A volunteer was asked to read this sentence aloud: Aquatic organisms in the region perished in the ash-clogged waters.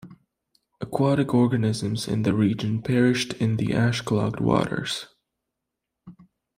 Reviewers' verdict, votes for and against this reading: rejected, 1, 2